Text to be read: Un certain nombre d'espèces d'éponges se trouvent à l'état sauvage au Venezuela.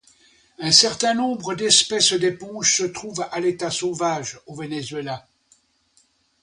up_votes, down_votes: 2, 0